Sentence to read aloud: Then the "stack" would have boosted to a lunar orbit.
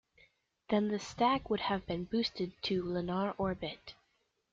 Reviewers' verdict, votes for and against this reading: rejected, 1, 3